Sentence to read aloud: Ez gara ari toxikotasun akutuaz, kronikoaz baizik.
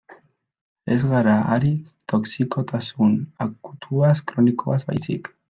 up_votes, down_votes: 1, 2